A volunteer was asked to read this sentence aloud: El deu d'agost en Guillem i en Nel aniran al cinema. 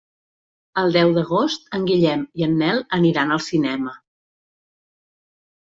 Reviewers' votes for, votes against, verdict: 2, 0, accepted